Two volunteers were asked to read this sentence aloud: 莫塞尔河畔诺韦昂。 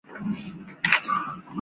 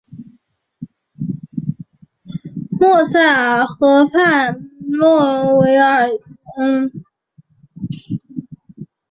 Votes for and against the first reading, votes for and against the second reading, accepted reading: 0, 2, 3, 0, second